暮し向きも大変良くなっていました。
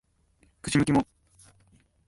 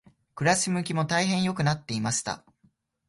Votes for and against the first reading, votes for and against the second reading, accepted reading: 0, 2, 2, 0, second